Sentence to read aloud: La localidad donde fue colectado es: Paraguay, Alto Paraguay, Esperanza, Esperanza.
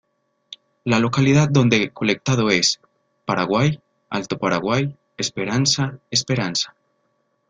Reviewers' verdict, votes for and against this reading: accepted, 2, 1